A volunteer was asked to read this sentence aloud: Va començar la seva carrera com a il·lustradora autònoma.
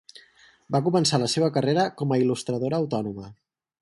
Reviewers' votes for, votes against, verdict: 4, 0, accepted